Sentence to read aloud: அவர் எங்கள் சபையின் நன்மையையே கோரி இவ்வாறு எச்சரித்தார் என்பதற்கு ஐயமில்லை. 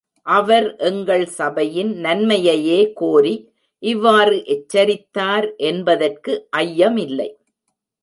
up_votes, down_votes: 2, 0